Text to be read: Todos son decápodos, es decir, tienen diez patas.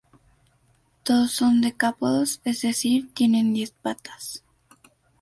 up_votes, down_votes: 0, 2